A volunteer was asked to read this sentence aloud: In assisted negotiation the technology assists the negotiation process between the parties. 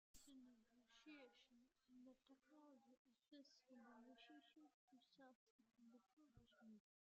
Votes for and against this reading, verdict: 0, 2, rejected